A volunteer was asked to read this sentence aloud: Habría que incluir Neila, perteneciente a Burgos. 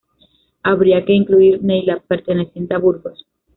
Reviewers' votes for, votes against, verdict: 2, 0, accepted